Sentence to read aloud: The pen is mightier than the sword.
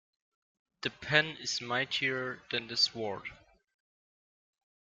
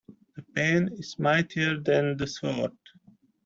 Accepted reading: second